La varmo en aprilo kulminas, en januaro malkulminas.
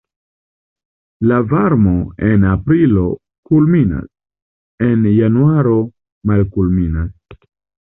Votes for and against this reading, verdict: 2, 0, accepted